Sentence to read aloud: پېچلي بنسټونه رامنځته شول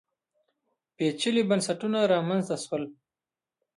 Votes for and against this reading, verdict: 2, 0, accepted